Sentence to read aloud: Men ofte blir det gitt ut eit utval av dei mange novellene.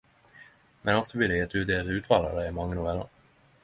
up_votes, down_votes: 10, 0